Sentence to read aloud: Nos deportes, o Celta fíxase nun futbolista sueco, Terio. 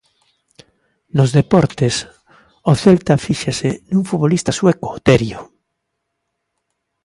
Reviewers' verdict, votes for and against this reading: accepted, 2, 0